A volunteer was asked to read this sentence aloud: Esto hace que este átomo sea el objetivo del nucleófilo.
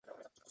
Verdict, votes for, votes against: rejected, 0, 4